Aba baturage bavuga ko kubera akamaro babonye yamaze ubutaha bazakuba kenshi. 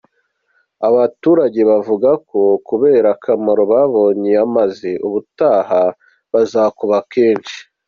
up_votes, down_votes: 3, 0